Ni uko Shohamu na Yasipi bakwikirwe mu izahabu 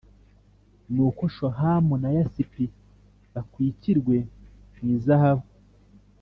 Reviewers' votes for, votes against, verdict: 3, 0, accepted